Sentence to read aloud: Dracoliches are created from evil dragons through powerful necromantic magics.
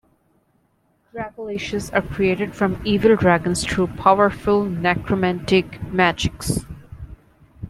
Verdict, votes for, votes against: rejected, 1, 2